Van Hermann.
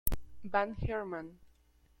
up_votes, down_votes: 1, 2